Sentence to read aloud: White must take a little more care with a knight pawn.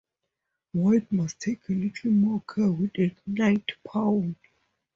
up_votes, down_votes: 2, 0